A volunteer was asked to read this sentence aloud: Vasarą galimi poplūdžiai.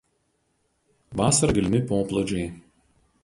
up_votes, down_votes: 2, 2